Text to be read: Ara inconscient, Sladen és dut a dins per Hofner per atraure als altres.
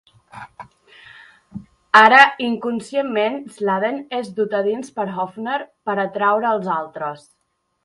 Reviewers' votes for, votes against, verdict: 0, 2, rejected